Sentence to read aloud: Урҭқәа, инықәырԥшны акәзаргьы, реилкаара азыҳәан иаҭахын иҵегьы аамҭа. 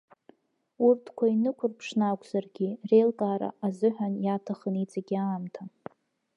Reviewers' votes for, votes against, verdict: 2, 0, accepted